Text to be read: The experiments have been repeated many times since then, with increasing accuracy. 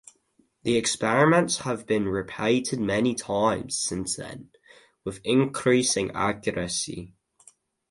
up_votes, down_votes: 2, 2